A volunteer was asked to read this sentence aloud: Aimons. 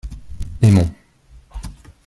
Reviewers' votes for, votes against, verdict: 2, 0, accepted